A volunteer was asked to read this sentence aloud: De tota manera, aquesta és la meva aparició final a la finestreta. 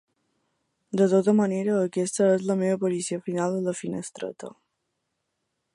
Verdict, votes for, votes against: accepted, 2, 0